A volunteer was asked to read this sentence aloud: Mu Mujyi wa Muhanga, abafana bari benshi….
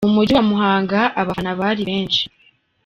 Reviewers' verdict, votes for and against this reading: rejected, 1, 2